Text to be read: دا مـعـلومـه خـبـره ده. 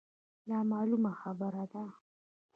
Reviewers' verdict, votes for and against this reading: rejected, 1, 2